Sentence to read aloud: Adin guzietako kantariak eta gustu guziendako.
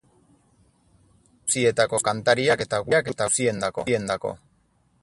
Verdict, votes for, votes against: rejected, 0, 4